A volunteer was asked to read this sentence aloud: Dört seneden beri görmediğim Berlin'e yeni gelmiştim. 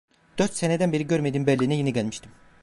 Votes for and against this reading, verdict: 1, 2, rejected